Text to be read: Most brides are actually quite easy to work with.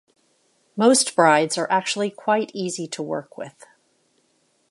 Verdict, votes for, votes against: accepted, 2, 0